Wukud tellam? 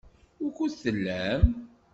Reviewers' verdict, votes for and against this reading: accepted, 2, 0